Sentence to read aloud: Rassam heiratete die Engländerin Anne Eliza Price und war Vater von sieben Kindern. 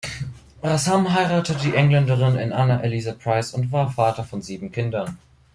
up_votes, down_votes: 0, 2